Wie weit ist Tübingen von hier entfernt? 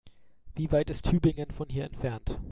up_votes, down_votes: 2, 0